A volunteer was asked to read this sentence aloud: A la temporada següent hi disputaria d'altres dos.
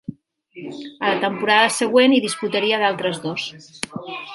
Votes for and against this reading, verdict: 1, 2, rejected